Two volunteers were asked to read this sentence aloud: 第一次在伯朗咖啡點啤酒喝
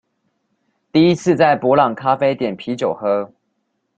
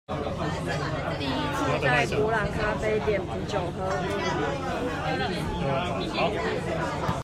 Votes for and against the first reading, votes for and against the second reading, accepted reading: 2, 0, 0, 2, first